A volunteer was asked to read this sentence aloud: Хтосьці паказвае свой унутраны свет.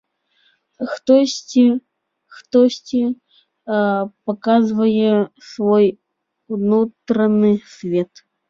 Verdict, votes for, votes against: rejected, 1, 2